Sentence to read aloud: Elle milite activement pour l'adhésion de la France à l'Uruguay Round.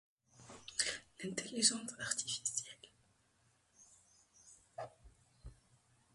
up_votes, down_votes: 1, 2